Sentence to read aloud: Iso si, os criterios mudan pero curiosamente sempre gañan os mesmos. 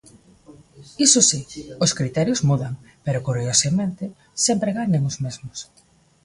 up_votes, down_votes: 2, 0